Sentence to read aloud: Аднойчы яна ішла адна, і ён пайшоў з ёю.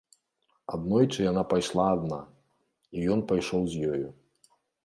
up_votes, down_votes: 1, 3